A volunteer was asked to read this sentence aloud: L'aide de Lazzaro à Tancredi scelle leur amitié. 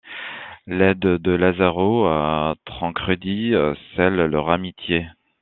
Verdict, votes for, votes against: accepted, 2, 0